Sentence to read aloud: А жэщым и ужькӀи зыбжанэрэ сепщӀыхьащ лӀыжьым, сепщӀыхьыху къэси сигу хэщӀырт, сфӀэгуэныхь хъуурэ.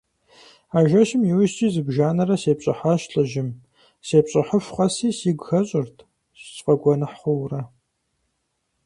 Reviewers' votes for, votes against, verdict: 4, 0, accepted